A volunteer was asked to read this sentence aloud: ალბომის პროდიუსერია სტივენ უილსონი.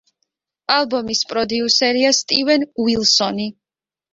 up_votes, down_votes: 2, 0